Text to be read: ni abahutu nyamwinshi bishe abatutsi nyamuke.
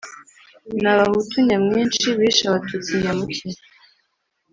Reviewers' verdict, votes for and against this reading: accepted, 3, 0